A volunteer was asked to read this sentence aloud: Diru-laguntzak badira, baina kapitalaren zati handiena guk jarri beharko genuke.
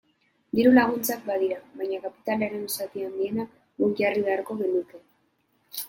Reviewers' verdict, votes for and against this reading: accepted, 2, 0